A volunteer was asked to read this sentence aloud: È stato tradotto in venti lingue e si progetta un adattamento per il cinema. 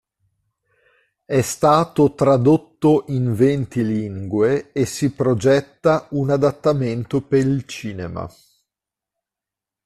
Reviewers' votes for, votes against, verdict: 1, 2, rejected